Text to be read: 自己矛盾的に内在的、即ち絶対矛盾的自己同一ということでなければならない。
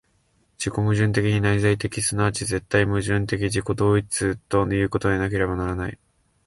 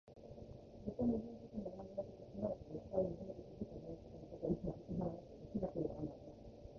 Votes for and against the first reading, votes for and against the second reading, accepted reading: 2, 0, 1, 2, first